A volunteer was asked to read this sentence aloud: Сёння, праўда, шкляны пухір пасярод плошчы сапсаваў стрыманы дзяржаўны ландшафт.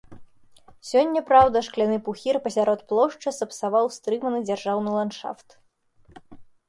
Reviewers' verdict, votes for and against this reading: accepted, 2, 0